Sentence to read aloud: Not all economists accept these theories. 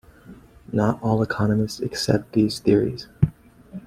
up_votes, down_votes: 2, 0